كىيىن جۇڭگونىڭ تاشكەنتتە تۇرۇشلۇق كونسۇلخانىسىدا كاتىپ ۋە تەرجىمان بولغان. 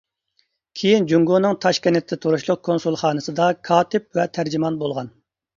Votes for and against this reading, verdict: 2, 0, accepted